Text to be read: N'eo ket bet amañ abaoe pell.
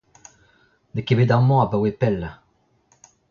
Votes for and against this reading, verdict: 2, 1, accepted